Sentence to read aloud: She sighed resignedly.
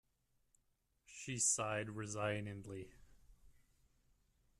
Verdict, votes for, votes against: accepted, 2, 1